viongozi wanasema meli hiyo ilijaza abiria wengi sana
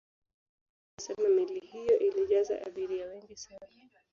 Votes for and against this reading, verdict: 1, 2, rejected